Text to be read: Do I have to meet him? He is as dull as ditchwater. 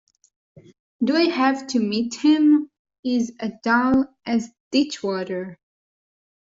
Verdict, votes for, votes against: rejected, 1, 2